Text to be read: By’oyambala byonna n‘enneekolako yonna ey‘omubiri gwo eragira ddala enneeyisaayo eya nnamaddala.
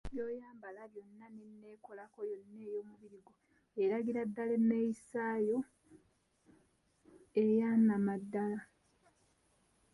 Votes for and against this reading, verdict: 1, 2, rejected